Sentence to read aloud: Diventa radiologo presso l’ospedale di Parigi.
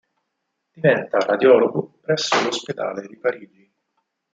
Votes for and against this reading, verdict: 4, 2, accepted